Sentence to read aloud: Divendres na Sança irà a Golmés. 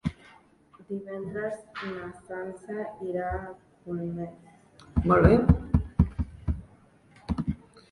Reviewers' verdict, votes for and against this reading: rejected, 0, 2